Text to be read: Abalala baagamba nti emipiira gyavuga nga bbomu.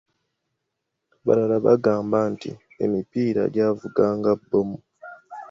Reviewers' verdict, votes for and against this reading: accepted, 2, 0